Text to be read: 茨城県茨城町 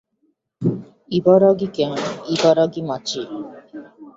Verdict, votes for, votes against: accepted, 2, 1